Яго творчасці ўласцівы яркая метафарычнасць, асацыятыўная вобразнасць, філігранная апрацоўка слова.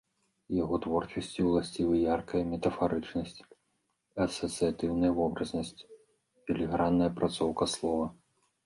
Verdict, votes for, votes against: accepted, 2, 0